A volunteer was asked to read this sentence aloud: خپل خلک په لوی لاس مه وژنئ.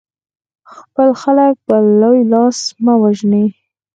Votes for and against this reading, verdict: 4, 2, accepted